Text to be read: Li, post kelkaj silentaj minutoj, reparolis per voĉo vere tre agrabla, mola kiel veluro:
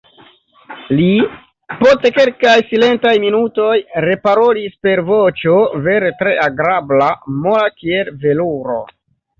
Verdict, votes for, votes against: accepted, 2, 0